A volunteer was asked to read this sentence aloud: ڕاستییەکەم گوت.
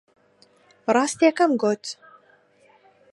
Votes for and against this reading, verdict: 2, 0, accepted